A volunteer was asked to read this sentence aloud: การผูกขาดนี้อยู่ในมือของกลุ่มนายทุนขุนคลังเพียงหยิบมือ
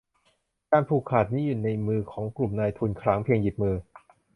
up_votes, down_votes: 0, 2